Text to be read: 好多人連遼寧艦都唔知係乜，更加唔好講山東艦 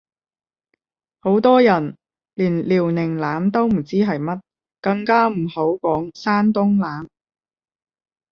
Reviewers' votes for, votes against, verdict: 10, 5, accepted